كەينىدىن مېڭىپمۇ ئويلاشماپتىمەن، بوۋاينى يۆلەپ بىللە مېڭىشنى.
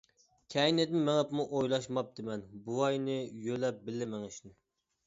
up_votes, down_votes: 2, 0